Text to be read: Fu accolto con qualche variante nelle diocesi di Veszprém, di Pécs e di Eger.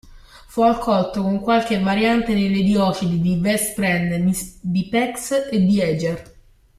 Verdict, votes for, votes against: rejected, 1, 3